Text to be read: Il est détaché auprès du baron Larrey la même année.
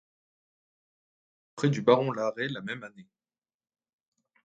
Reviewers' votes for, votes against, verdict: 0, 2, rejected